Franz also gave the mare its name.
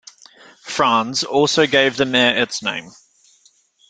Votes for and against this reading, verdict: 2, 0, accepted